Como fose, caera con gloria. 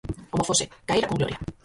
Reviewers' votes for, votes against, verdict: 0, 4, rejected